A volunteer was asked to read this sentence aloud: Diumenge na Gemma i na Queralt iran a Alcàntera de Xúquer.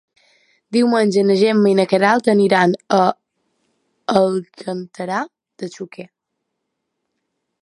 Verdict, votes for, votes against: rejected, 0, 2